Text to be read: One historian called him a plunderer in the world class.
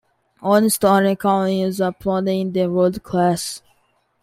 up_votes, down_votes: 0, 2